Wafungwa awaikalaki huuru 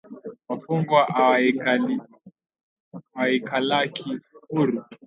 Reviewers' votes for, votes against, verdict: 0, 2, rejected